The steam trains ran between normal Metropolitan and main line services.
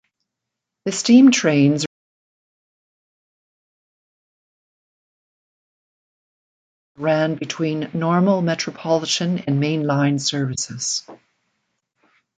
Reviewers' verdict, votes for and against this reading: rejected, 0, 2